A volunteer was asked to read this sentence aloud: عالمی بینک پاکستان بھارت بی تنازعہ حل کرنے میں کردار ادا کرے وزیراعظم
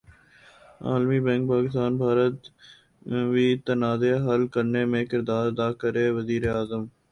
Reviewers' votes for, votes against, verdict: 4, 0, accepted